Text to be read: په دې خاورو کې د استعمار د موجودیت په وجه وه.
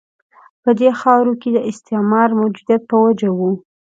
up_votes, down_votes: 2, 0